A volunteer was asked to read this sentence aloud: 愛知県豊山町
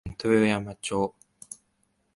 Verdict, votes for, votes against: rejected, 1, 5